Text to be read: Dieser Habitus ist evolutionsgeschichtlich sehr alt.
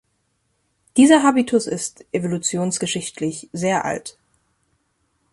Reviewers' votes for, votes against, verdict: 2, 0, accepted